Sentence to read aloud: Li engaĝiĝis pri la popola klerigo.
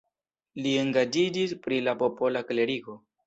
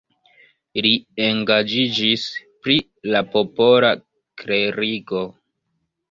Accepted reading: first